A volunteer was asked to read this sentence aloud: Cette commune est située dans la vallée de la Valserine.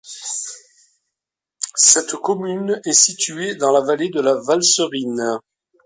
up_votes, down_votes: 2, 0